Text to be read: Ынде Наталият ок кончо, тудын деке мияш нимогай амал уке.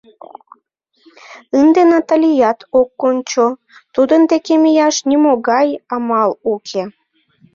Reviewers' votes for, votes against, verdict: 2, 0, accepted